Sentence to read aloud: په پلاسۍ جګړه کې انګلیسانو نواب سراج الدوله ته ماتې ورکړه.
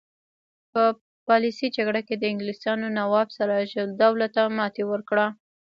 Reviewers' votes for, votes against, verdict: 1, 2, rejected